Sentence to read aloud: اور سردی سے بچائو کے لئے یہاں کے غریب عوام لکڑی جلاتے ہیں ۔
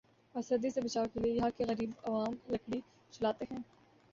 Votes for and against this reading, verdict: 2, 1, accepted